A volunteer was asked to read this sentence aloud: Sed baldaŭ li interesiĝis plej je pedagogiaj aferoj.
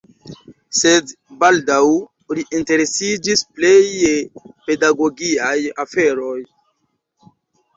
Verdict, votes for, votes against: rejected, 1, 2